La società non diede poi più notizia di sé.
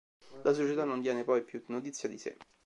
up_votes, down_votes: 2, 3